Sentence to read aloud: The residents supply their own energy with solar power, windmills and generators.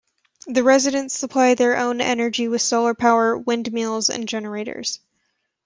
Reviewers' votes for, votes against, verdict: 0, 2, rejected